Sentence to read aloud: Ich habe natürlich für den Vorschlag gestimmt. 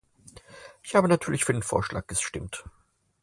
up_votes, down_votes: 4, 0